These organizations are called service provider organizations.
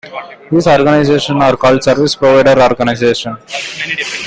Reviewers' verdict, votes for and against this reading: accepted, 2, 1